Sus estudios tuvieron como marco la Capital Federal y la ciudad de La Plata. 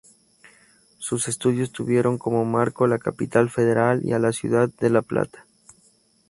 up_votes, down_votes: 2, 0